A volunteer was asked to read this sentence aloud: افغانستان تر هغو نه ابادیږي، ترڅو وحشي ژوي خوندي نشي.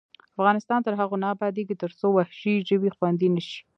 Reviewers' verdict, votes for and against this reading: accepted, 2, 0